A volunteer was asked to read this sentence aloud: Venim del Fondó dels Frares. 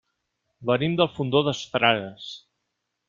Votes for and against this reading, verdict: 1, 2, rejected